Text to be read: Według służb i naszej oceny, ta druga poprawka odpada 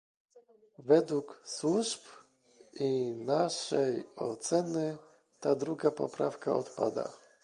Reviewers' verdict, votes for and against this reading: accepted, 2, 0